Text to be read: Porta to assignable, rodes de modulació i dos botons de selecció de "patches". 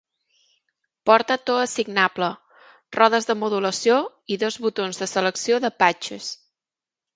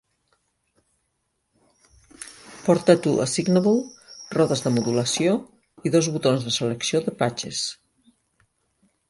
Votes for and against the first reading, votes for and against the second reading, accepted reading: 2, 1, 1, 2, first